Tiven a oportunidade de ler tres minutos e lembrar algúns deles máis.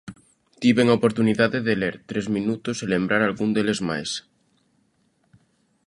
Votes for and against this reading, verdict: 0, 2, rejected